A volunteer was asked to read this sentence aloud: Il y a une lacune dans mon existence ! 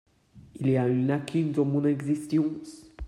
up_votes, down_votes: 0, 2